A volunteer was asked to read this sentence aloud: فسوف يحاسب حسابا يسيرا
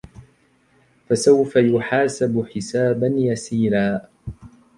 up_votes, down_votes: 2, 1